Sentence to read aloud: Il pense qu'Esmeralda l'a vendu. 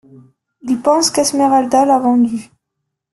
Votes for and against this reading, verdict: 0, 2, rejected